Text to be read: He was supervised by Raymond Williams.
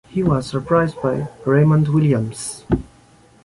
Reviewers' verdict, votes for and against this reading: rejected, 1, 2